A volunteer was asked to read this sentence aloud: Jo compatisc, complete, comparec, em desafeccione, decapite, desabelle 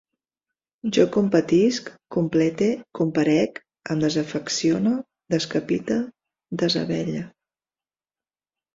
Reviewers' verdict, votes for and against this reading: rejected, 0, 2